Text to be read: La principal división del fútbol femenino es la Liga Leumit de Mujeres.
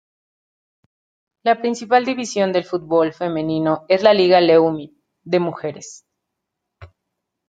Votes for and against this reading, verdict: 2, 0, accepted